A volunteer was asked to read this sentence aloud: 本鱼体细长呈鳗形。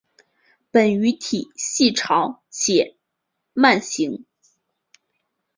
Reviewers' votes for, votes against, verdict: 3, 4, rejected